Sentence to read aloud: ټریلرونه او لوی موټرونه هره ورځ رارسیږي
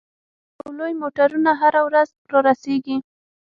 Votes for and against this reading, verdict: 6, 0, accepted